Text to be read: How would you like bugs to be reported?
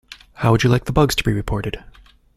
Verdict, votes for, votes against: rejected, 1, 2